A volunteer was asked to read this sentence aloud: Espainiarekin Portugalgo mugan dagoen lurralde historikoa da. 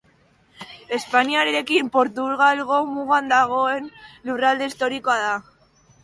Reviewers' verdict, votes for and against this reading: rejected, 1, 2